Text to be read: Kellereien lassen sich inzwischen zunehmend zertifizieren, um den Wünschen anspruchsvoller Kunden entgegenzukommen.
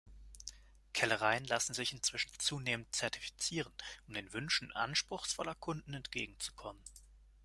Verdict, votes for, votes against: accepted, 2, 0